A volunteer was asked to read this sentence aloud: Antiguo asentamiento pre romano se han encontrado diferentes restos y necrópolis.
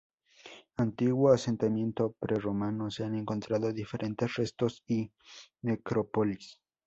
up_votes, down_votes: 0, 2